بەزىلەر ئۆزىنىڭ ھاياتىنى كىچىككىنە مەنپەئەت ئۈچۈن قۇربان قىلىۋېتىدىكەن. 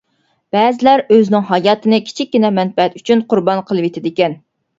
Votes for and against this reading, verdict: 2, 0, accepted